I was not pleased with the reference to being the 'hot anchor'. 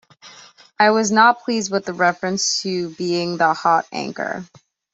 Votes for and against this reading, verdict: 2, 0, accepted